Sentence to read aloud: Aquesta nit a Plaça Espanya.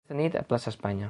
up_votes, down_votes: 0, 3